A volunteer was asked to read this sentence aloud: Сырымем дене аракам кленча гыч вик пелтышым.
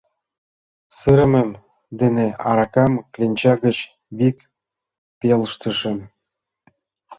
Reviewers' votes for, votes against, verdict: 0, 2, rejected